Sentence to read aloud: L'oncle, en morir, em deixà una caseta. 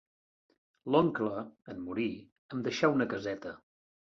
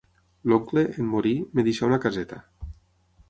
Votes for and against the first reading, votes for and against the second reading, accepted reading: 3, 0, 3, 6, first